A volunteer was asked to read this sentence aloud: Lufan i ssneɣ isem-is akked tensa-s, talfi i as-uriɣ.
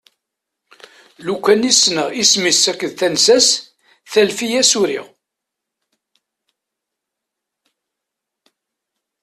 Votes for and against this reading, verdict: 2, 0, accepted